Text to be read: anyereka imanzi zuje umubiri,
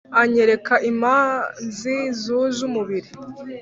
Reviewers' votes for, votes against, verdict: 0, 2, rejected